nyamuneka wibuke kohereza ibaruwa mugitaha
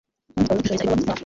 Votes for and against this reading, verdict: 0, 2, rejected